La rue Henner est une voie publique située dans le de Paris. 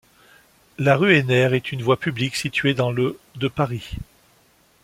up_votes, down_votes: 2, 0